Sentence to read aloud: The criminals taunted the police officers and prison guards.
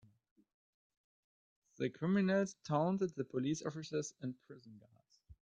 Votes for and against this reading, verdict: 2, 1, accepted